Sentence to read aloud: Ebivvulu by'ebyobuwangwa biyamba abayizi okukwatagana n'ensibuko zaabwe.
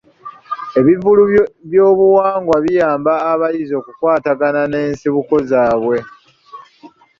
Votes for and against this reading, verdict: 1, 2, rejected